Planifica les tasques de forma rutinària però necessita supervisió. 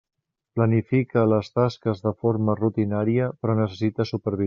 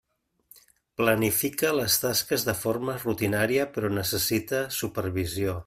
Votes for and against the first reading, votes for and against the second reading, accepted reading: 0, 2, 3, 0, second